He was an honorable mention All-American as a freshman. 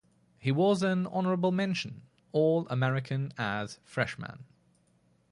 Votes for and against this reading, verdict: 0, 2, rejected